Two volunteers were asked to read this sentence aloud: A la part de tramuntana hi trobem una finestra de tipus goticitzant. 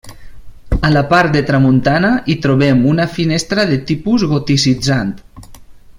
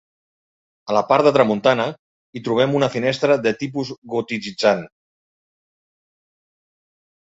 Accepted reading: first